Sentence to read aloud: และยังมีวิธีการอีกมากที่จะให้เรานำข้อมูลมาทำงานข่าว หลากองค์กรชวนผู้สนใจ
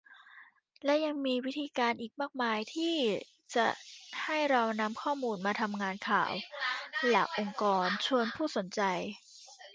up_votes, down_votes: 0, 2